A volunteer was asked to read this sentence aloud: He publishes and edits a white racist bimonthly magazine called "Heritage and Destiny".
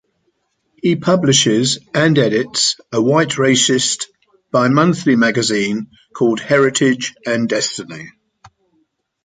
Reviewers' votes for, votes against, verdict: 2, 0, accepted